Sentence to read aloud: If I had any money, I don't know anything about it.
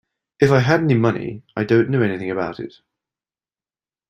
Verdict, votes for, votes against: accepted, 2, 0